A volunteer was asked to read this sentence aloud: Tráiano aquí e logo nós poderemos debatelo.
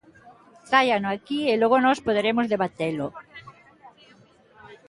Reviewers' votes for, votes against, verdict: 2, 0, accepted